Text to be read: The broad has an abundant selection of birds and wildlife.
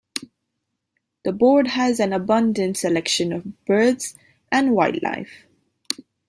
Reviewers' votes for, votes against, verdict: 0, 2, rejected